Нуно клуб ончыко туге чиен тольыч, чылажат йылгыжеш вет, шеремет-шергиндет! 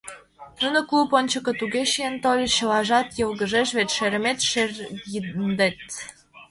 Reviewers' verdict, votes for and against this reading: rejected, 0, 2